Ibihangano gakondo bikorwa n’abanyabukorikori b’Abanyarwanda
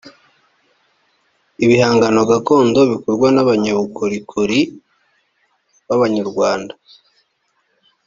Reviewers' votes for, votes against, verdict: 1, 2, rejected